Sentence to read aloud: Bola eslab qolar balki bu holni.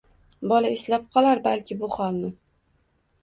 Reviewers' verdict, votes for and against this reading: accepted, 2, 0